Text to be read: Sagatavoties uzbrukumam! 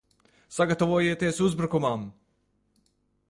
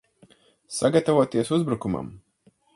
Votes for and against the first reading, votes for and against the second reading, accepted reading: 0, 2, 4, 0, second